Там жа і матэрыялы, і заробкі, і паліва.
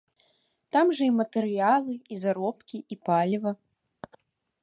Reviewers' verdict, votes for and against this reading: accepted, 2, 0